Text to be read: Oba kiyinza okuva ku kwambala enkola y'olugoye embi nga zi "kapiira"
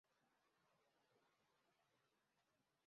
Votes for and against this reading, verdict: 0, 3, rejected